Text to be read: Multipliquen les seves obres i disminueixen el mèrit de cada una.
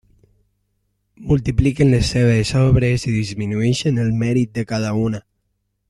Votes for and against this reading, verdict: 3, 0, accepted